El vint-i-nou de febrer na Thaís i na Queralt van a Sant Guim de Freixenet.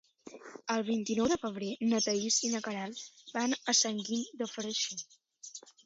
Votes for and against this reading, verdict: 2, 1, accepted